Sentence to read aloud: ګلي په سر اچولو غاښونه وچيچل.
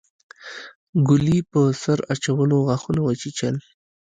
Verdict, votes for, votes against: accepted, 2, 1